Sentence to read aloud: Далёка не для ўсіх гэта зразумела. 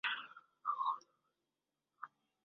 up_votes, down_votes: 0, 2